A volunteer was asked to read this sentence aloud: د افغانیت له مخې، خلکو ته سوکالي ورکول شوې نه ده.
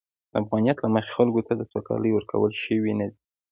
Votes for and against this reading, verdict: 2, 0, accepted